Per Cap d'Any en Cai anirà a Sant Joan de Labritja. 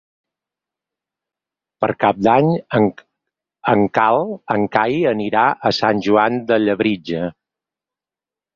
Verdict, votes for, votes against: rejected, 0, 4